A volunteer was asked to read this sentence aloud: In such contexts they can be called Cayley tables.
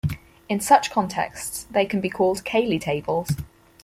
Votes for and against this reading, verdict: 4, 0, accepted